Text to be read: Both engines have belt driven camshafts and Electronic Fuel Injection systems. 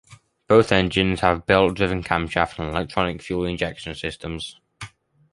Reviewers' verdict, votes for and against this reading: accepted, 2, 0